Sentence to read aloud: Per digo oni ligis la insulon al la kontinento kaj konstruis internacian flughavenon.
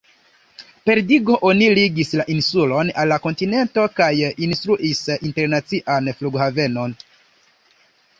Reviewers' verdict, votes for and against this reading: rejected, 0, 2